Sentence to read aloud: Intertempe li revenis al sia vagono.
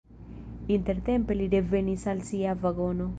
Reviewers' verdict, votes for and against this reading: rejected, 1, 2